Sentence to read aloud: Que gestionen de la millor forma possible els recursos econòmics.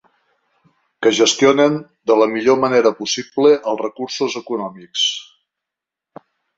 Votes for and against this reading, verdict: 0, 2, rejected